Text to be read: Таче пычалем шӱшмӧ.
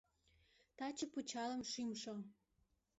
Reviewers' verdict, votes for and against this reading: rejected, 1, 2